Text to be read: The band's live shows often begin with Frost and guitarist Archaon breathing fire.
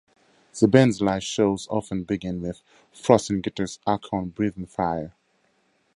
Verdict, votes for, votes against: accepted, 2, 0